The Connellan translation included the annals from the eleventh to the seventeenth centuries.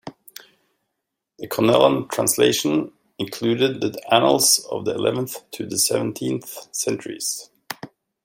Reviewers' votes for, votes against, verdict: 1, 2, rejected